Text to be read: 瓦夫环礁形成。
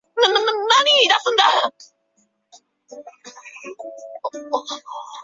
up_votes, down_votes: 0, 2